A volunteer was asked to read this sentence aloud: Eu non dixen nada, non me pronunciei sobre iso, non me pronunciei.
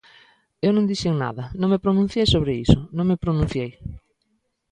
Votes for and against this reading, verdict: 2, 0, accepted